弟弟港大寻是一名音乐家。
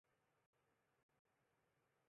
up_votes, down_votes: 0, 2